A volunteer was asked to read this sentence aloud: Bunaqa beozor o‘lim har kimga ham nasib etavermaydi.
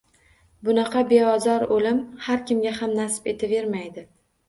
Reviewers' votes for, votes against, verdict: 1, 2, rejected